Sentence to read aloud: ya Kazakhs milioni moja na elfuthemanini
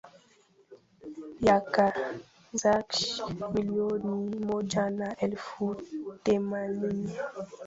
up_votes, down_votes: 1, 2